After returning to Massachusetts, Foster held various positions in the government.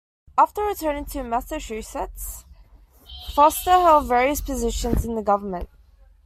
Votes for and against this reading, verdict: 2, 3, rejected